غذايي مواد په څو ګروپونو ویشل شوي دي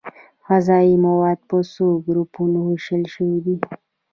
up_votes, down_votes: 2, 0